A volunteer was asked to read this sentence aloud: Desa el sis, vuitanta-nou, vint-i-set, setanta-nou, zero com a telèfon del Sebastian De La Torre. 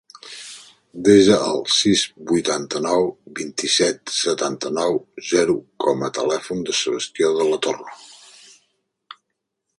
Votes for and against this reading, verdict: 0, 2, rejected